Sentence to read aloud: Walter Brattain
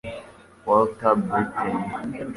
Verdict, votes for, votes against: rejected, 1, 2